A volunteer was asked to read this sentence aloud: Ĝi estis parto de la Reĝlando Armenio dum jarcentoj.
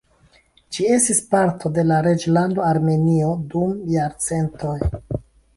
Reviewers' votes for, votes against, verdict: 2, 0, accepted